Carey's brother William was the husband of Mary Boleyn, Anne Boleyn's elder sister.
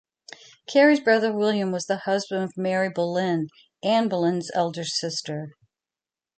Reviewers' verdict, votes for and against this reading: rejected, 1, 2